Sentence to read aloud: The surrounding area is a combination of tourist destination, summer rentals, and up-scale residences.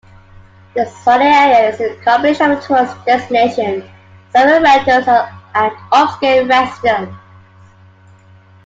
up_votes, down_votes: 0, 2